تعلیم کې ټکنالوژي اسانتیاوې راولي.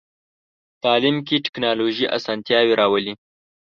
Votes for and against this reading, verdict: 2, 0, accepted